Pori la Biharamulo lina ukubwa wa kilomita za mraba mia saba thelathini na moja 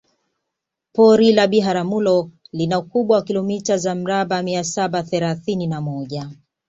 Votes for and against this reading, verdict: 2, 0, accepted